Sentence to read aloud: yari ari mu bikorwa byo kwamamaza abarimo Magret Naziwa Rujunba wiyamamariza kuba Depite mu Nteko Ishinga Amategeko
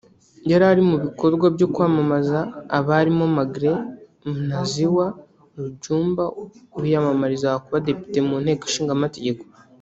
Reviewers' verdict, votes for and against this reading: rejected, 1, 2